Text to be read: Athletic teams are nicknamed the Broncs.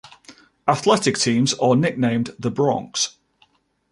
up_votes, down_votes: 2, 0